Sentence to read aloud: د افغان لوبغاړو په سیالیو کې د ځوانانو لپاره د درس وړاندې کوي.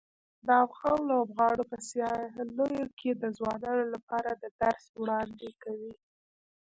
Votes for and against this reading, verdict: 1, 2, rejected